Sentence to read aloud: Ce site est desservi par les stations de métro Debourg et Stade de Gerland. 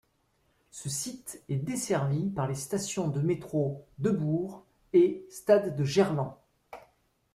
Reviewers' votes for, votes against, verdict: 2, 0, accepted